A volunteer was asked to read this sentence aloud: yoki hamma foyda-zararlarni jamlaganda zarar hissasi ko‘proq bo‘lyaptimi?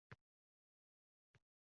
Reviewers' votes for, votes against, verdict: 0, 2, rejected